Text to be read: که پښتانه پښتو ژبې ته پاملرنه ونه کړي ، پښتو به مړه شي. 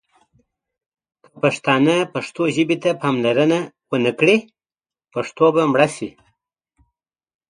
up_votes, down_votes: 2, 1